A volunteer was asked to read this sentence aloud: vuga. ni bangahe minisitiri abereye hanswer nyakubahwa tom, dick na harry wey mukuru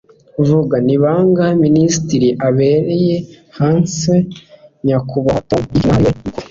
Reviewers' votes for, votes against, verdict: 1, 2, rejected